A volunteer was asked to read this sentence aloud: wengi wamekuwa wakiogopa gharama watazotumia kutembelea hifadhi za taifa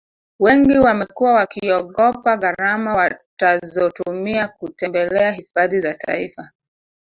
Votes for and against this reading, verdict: 0, 2, rejected